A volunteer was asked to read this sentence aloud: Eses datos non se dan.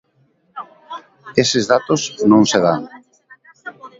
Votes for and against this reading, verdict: 0, 2, rejected